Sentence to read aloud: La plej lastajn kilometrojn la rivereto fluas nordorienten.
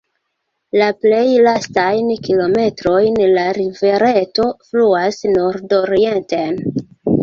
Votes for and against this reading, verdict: 1, 2, rejected